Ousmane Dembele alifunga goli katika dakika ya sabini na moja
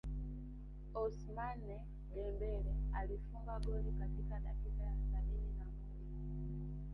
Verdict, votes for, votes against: rejected, 2, 3